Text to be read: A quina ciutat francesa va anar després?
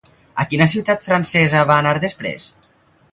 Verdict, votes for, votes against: accepted, 4, 0